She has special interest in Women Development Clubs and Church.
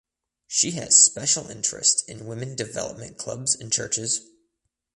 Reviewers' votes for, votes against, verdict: 0, 2, rejected